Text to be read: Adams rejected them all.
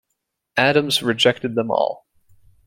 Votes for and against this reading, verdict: 2, 0, accepted